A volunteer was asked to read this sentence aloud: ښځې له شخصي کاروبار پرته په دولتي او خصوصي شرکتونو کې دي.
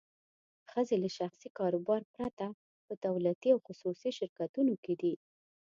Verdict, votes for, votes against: accepted, 2, 0